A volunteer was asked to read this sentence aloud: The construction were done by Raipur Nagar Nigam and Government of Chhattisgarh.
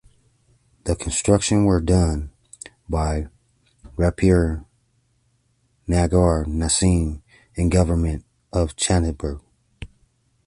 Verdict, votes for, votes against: rejected, 0, 2